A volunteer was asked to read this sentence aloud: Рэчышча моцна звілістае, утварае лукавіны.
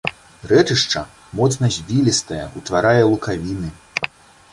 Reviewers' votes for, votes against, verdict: 2, 0, accepted